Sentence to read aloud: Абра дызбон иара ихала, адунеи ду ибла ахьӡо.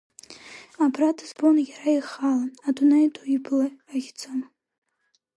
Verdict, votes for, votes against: rejected, 3, 4